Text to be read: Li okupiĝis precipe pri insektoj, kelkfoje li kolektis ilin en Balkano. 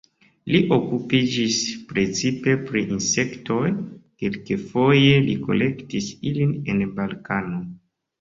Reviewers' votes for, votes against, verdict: 1, 2, rejected